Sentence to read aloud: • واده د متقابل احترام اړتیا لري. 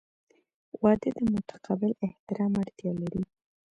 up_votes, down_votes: 2, 1